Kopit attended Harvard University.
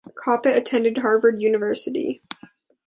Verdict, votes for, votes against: accepted, 2, 0